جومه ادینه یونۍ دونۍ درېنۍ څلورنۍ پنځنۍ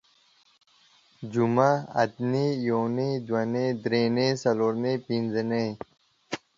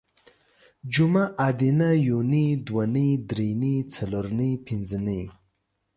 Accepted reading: second